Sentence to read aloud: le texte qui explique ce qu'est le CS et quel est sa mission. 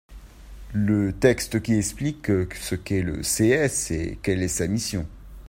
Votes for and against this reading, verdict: 1, 2, rejected